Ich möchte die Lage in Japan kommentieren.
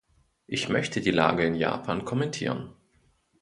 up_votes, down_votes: 2, 0